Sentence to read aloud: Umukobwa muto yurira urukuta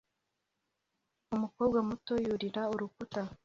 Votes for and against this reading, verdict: 2, 0, accepted